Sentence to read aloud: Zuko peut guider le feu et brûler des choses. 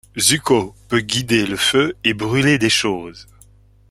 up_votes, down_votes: 2, 1